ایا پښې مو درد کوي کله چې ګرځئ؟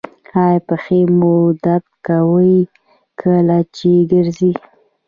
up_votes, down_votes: 1, 2